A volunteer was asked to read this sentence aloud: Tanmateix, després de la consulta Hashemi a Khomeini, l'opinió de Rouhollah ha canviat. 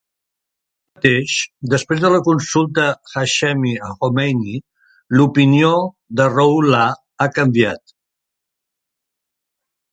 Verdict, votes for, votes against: rejected, 0, 2